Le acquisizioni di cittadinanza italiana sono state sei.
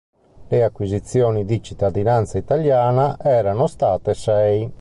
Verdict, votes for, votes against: rejected, 0, 2